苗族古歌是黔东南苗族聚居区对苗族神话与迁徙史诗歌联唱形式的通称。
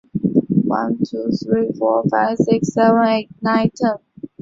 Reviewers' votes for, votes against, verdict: 0, 5, rejected